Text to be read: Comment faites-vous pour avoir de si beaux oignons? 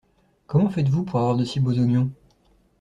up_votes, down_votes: 2, 0